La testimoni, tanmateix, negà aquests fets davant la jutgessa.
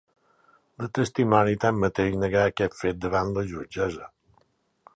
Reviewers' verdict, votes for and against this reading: accepted, 4, 0